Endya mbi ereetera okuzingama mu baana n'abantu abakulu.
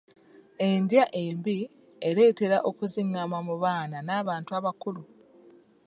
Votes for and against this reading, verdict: 1, 2, rejected